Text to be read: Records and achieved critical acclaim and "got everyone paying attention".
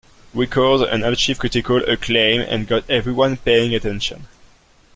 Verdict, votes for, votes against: rejected, 0, 2